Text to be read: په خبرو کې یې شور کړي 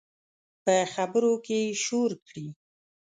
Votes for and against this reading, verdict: 2, 0, accepted